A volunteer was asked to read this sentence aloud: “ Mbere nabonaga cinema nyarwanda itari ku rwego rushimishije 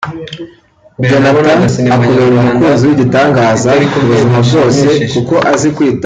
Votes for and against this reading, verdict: 0, 2, rejected